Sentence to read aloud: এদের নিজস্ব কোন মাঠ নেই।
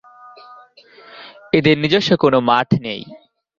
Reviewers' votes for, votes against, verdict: 2, 1, accepted